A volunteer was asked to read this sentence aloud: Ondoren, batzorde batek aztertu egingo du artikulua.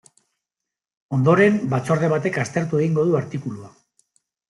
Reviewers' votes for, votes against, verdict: 2, 0, accepted